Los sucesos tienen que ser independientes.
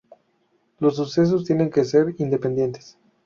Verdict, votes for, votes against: accepted, 2, 0